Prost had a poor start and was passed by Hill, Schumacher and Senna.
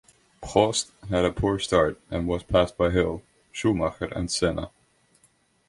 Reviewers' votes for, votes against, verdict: 2, 0, accepted